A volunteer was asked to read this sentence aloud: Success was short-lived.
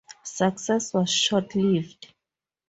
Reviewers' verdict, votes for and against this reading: rejected, 0, 2